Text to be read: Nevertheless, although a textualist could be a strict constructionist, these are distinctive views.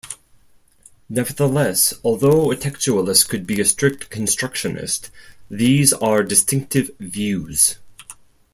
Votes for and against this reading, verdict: 4, 0, accepted